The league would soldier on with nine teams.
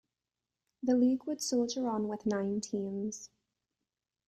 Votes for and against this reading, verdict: 2, 0, accepted